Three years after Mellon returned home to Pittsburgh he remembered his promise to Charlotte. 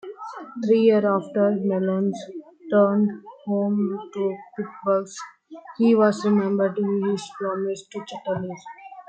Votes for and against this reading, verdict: 0, 2, rejected